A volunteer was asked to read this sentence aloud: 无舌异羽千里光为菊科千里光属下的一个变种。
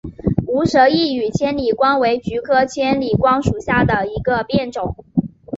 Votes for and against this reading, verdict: 5, 0, accepted